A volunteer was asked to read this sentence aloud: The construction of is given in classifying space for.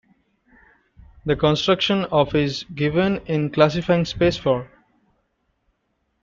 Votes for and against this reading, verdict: 0, 2, rejected